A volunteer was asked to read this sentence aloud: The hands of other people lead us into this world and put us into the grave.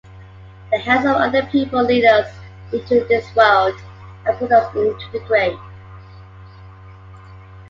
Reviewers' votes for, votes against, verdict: 1, 2, rejected